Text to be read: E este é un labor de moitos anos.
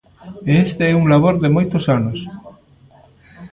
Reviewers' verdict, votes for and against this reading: rejected, 1, 2